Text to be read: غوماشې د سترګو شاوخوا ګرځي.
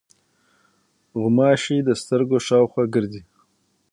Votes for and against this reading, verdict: 3, 6, rejected